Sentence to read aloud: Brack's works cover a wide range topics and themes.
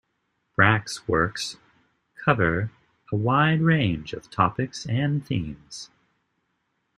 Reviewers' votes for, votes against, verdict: 1, 2, rejected